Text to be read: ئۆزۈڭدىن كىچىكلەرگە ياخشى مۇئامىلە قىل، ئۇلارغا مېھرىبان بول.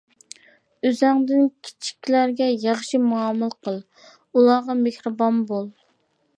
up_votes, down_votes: 2, 0